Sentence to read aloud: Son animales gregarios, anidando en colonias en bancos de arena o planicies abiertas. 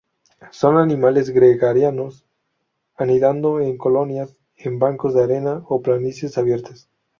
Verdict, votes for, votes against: rejected, 0, 2